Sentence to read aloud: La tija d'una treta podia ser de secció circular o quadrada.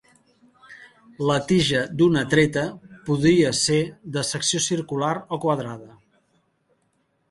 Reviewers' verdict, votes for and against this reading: rejected, 0, 2